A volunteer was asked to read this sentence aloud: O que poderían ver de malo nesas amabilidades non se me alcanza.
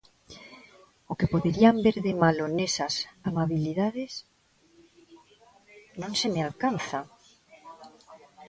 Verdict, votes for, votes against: rejected, 0, 2